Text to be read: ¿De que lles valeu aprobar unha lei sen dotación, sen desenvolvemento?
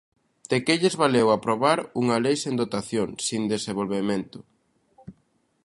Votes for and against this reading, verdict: 1, 2, rejected